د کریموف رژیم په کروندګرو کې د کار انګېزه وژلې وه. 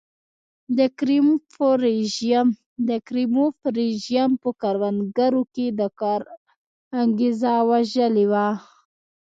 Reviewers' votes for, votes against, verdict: 0, 2, rejected